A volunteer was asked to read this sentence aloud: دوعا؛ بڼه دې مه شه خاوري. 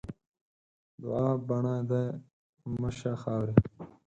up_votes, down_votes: 4, 2